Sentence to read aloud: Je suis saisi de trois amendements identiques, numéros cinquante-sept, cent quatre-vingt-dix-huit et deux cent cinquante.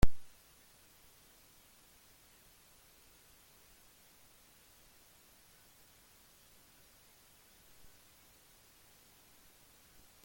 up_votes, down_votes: 0, 2